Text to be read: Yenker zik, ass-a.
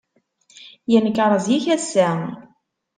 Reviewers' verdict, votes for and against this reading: rejected, 1, 2